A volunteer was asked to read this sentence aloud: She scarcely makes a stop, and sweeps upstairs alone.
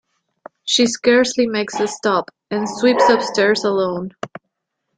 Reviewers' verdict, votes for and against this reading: accepted, 2, 0